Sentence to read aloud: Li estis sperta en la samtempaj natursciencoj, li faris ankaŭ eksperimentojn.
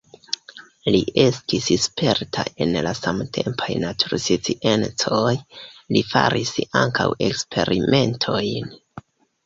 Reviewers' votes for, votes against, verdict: 1, 2, rejected